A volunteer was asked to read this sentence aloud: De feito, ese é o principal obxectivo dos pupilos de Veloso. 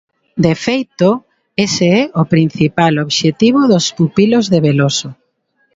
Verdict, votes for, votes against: accepted, 2, 0